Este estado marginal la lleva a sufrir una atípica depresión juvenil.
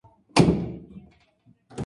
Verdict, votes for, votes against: rejected, 0, 2